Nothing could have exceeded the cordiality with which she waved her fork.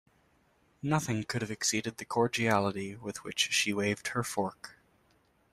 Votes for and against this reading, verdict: 2, 0, accepted